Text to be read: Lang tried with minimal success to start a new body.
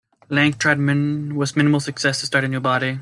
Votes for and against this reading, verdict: 0, 2, rejected